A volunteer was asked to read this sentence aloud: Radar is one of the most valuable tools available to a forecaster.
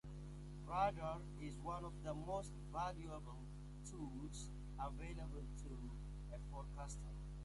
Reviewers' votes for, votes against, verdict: 1, 2, rejected